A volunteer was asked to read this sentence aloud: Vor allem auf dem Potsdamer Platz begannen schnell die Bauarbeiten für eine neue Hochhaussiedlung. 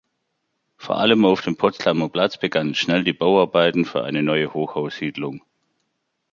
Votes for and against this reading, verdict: 2, 0, accepted